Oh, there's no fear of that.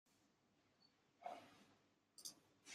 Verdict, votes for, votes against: rejected, 0, 2